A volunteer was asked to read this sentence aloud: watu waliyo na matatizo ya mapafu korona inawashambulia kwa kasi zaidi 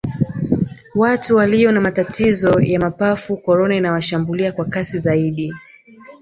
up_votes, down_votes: 2, 0